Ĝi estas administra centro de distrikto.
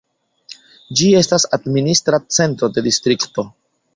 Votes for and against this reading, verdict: 2, 0, accepted